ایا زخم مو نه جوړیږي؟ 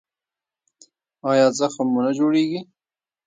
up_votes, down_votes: 0, 2